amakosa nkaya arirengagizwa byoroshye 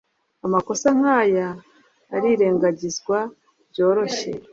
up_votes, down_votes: 2, 0